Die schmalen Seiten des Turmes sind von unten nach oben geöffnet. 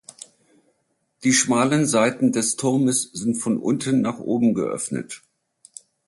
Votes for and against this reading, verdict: 2, 0, accepted